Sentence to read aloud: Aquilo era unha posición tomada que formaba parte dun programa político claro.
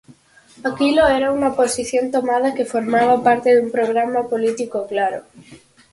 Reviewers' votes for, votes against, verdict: 4, 0, accepted